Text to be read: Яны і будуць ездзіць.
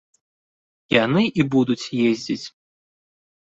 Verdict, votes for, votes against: accepted, 2, 0